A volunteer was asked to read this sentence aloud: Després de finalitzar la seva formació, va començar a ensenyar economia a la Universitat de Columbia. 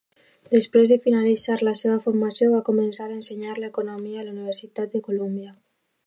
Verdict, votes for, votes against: accepted, 2, 0